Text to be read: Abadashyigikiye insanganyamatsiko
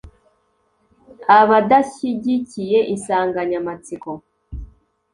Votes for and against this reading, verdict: 2, 0, accepted